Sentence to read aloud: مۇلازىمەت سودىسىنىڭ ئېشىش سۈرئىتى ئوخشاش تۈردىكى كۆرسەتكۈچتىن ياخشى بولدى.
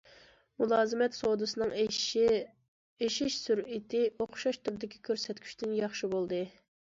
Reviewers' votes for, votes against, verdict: 1, 2, rejected